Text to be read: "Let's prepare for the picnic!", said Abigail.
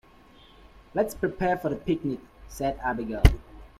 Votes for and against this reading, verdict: 2, 0, accepted